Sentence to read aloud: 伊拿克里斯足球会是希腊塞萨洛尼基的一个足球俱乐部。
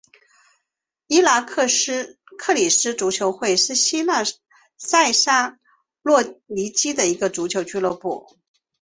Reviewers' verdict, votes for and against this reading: accepted, 2, 1